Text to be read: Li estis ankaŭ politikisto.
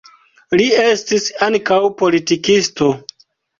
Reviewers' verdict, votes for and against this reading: accepted, 2, 0